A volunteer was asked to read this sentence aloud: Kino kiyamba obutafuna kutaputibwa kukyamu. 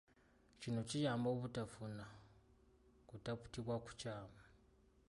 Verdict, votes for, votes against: accepted, 2, 0